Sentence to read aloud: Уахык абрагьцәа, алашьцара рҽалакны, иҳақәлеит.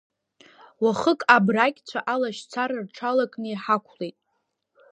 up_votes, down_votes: 0, 2